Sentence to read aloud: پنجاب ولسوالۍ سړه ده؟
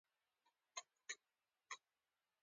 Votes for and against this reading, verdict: 2, 0, accepted